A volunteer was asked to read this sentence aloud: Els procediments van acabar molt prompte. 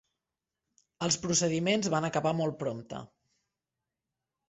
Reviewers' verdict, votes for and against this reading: accepted, 3, 0